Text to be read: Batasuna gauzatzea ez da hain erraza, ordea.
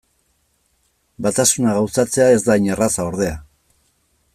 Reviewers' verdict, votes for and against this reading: accepted, 2, 0